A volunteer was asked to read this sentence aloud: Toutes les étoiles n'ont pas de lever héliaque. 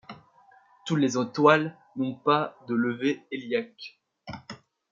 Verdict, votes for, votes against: rejected, 0, 2